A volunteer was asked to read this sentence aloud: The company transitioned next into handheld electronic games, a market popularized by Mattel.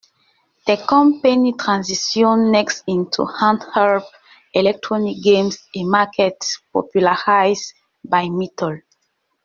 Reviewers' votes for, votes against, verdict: 1, 2, rejected